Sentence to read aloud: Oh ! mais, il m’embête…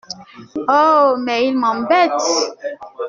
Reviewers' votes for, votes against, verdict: 2, 0, accepted